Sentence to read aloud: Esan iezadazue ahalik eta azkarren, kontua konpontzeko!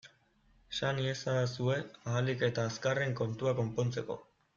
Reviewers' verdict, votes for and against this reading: accepted, 2, 0